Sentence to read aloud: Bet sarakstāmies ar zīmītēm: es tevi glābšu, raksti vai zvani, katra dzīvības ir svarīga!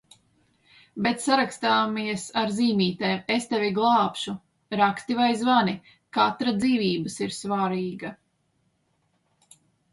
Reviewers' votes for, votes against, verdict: 2, 1, accepted